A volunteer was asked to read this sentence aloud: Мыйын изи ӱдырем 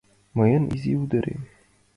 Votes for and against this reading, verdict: 2, 1, accepted